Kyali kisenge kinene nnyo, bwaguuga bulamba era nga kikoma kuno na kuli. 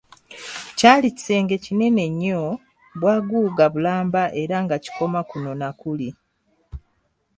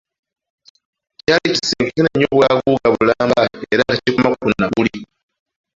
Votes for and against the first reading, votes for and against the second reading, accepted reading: 2, 0, 1, 2, first